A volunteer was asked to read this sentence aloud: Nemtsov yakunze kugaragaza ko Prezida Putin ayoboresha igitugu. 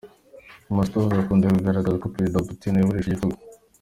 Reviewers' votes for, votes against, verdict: 1, 2, rejected